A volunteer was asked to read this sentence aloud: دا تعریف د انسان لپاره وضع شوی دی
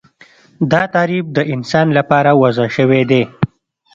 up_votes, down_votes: 2, 0